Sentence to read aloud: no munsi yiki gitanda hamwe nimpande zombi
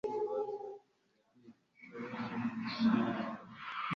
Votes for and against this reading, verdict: 1, 2, rejected